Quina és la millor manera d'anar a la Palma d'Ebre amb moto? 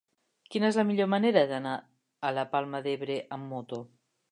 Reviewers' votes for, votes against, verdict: 2, 0, accepted